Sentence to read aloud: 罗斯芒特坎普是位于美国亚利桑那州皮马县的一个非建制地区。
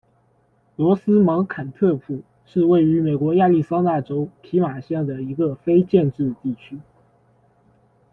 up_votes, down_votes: 2, 0